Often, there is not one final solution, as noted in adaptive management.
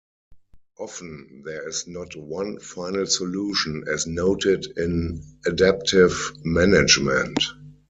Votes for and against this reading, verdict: 4, 0, accepted